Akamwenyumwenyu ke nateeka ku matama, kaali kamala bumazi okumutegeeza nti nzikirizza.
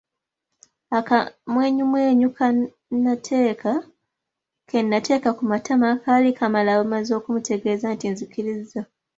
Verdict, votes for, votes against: rejected, 0, 3